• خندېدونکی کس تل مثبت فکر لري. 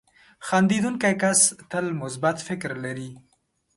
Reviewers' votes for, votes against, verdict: 2, 0, accepted